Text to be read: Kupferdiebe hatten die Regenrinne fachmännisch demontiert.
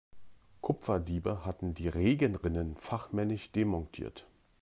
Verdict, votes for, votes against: rejected, 0, 2